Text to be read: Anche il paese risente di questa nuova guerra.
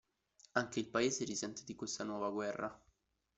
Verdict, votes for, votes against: rejected, 0, 2